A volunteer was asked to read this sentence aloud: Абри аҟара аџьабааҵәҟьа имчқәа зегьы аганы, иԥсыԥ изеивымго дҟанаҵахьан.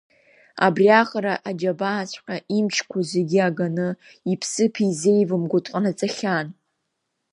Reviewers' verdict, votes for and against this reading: accepted, 2, 0